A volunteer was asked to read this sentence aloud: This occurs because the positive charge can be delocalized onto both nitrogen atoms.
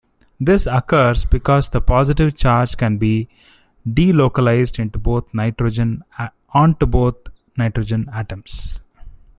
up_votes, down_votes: 0, 2